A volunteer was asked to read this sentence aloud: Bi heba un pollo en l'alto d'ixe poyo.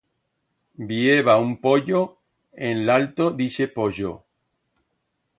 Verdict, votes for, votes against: rejected, 1, 2